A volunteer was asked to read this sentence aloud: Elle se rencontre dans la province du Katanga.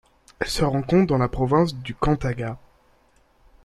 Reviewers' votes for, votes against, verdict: 1, 3, rejected